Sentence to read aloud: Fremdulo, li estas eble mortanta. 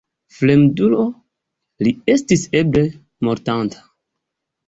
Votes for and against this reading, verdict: 0, 2, rejected